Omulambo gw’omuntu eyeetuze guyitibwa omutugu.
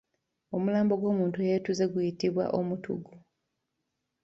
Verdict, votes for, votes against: accepted, 2, 1